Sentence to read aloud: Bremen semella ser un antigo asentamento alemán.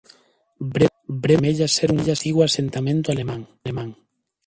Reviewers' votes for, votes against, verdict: 0, 2, rejected